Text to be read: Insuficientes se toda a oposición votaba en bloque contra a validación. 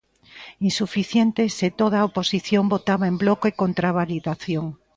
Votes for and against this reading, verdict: 3, 0, accepted